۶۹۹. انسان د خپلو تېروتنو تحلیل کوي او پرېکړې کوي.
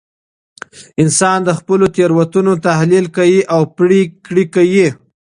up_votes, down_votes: 0, 2